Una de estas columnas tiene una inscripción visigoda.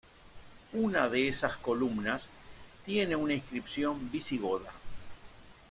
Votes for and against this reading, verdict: 1, 2, rejected